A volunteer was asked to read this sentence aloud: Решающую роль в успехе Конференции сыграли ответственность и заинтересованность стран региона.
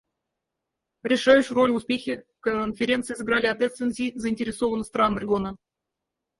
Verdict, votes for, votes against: rejected, 0, 4